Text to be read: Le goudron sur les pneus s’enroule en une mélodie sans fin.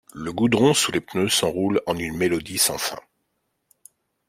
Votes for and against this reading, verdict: 1, 2, rejected